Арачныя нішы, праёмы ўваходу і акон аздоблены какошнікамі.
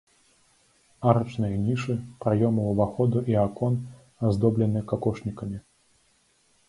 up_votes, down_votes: 2, 0